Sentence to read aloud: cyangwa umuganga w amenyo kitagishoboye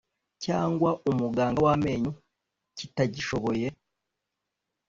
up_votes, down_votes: 2, 0